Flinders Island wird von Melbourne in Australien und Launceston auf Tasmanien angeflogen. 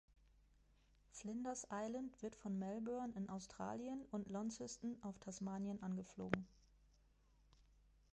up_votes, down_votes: 1, 2